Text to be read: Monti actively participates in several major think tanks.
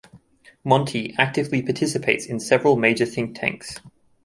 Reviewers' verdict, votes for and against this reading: rejected, 0, 2